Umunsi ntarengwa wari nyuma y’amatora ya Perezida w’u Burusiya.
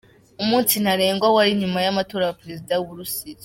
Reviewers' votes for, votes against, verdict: 1, 2, rejected